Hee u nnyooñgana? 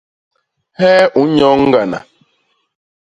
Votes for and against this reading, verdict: 1, 2, rejected